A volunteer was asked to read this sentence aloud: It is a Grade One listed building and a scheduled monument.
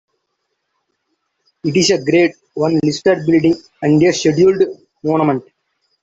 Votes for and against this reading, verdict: 0, 2, rejected